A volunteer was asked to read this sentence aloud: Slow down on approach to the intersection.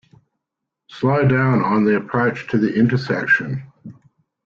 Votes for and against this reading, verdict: 0, 2, rejected